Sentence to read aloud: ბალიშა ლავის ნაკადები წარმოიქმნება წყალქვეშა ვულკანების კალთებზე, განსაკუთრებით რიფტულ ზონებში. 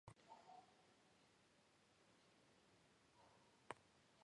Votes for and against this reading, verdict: 0, 2, rejected